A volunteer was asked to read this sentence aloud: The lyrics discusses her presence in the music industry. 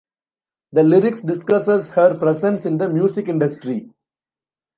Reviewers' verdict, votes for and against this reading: accepted, 2, 0